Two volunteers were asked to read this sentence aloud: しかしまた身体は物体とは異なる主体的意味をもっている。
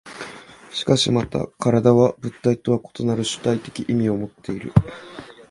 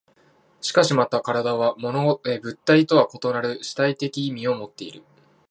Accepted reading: first